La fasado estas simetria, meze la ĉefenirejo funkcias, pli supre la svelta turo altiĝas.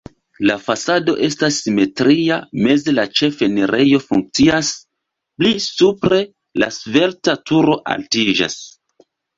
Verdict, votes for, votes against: rejected, 1, 2